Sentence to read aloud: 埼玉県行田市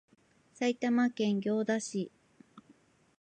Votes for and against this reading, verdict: 3, 1, accepted